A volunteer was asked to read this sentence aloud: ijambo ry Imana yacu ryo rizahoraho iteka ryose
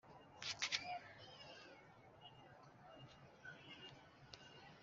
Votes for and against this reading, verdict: 2, 1, accepted